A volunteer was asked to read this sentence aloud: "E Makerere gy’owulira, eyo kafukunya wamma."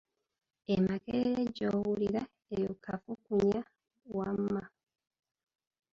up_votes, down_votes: 0, 2